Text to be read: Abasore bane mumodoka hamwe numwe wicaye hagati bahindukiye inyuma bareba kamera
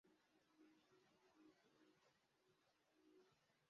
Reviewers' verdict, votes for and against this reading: rejected, 0, 2